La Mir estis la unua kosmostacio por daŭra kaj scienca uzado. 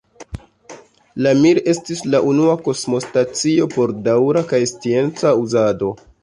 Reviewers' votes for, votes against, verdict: 0, 2, rejected